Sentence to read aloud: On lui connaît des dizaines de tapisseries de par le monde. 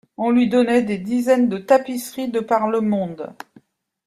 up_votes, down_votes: 0, 2